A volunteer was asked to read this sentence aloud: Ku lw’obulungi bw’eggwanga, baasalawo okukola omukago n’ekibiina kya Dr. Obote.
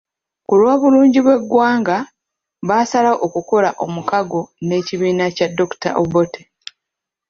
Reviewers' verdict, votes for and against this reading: rejected, 1, 2